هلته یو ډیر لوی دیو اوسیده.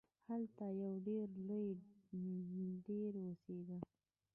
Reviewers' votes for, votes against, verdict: 0, 2, rejected